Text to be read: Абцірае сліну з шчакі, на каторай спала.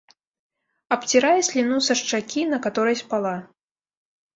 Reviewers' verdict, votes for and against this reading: rejected, 1, 2